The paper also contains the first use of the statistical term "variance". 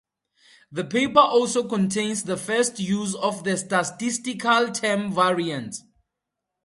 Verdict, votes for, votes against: rejected, 2, 2